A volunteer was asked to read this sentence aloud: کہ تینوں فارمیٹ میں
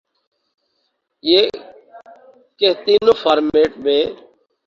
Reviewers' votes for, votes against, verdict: 0, 2, rejected